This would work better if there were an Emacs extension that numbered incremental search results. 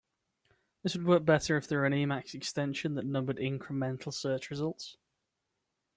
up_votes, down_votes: 2, 0